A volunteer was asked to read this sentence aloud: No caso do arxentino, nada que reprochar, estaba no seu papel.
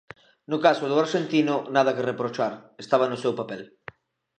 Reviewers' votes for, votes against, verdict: 2, 0, accepted